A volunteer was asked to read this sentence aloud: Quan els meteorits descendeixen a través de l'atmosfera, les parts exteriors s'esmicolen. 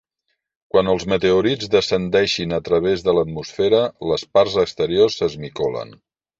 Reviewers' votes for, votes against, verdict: 0, 2, rejected